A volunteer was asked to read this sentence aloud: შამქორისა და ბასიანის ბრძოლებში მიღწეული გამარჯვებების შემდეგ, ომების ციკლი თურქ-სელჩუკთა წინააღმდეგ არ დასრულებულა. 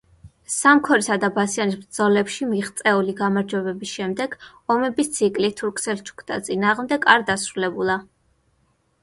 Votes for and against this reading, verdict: 0, 2, rejected